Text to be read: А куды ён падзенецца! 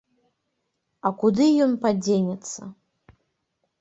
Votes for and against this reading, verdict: 2, 0, accepted